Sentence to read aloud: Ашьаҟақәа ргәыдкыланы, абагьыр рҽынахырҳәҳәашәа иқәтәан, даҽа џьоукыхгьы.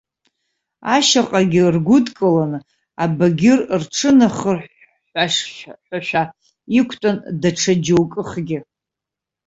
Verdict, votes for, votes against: rejected, 0, 2